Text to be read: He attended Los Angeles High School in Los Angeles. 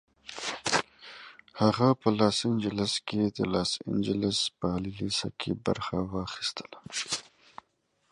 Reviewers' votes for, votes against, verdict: 0, 2, rejected